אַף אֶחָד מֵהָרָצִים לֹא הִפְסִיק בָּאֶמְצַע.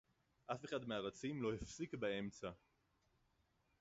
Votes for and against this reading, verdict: 2, 2, rejected